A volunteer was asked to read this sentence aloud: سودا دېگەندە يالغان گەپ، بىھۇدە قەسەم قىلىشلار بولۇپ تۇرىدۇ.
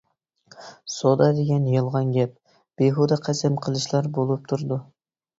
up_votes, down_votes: 0, 2